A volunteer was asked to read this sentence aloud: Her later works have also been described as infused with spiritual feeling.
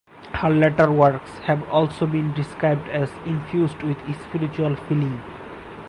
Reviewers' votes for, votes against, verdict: 0, 4, rejected